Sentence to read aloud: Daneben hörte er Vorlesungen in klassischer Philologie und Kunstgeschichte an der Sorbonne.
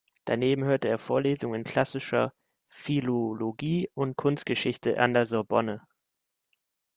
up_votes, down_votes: 0, 2